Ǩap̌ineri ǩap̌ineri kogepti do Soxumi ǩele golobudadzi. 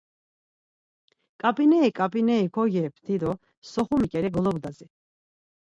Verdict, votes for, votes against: rejected, 2, 4